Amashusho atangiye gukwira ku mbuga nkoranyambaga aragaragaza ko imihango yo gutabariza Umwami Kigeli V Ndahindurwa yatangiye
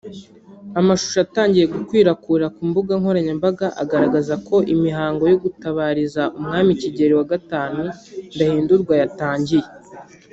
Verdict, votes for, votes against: rejected, 0, 2